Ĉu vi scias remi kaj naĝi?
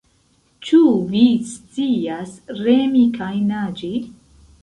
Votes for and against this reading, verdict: 0, 2, rejected